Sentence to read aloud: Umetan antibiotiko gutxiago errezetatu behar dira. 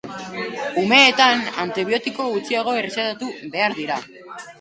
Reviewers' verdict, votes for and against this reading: rejected, 0, 6